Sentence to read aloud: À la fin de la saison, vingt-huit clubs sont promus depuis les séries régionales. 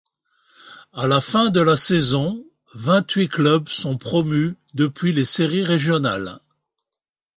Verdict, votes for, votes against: accepted, 2, 0